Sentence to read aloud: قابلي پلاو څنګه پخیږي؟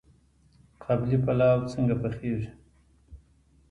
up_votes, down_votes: 2, 0